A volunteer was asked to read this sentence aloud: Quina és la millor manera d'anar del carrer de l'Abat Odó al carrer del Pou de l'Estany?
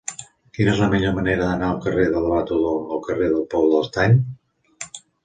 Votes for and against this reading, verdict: 1, 2, rejected